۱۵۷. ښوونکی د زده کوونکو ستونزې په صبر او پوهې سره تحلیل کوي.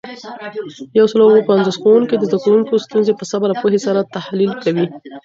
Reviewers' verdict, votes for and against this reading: rejected, 0, 2